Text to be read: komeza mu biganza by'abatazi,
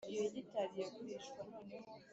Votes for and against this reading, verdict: 2, 3, rejected